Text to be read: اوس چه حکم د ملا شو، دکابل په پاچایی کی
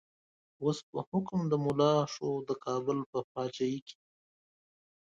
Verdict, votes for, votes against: rejected, 1, 2